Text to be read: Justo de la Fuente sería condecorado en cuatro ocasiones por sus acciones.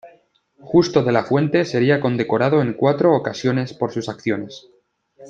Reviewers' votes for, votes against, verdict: 2, 0, accepted